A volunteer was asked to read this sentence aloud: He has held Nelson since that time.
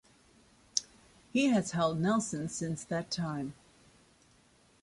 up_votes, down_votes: 2, 0